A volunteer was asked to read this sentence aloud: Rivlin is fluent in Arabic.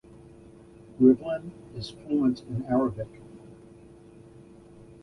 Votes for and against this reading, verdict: 0, 2, rejected